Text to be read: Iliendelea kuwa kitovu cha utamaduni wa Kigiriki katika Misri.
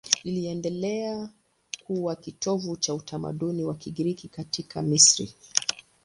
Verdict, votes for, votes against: accepted, 2, 0